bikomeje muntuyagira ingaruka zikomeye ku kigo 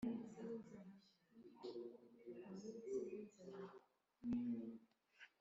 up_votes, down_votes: 0, 2